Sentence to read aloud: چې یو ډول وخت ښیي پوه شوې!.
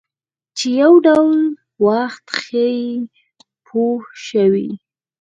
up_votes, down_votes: 0, 4